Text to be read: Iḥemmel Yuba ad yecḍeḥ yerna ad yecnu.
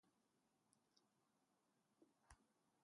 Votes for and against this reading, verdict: 0, 2, rejected